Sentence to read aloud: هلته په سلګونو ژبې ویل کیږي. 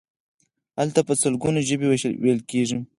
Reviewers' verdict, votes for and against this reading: accepted, 4, 0